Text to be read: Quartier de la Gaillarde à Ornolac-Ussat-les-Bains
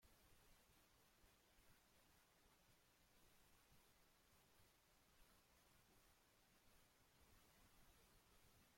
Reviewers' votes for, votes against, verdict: 1, 2, rejected